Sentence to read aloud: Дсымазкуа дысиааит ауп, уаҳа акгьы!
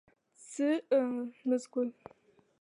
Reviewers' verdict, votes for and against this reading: rejected, 0, 2